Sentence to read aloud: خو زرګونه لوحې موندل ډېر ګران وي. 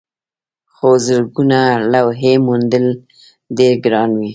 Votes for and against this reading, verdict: 1, 2, rejected